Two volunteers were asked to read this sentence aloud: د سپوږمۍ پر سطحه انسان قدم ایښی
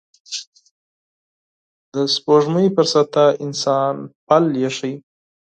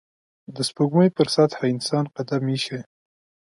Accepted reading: second